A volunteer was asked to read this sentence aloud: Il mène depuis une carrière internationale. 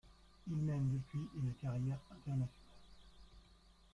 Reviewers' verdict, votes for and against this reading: rejected, 0, 2